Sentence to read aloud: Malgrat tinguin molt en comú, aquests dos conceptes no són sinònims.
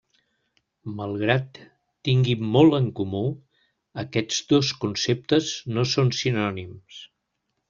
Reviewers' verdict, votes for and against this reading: accepted, 2, 0